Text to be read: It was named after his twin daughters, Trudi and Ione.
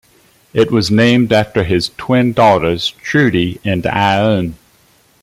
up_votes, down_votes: 0, 2